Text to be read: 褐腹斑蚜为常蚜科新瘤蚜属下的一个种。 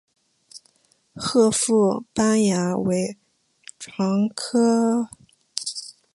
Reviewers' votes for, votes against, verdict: 0, 2, rejected